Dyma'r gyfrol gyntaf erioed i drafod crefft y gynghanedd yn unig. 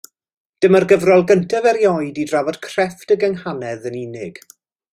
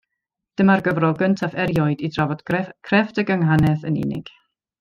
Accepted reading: first